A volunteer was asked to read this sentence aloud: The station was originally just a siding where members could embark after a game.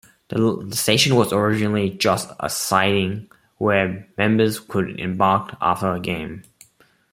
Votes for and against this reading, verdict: 0, 2, rejected